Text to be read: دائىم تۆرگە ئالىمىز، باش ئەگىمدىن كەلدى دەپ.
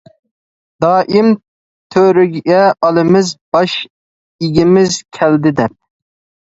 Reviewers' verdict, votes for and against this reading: rejected, 0, 2